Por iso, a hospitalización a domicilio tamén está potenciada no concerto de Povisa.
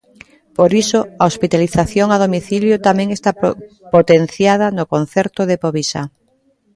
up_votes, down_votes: 0, 2